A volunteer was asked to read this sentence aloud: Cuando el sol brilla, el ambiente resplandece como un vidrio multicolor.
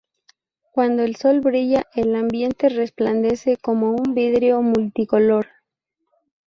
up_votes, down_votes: 2, 0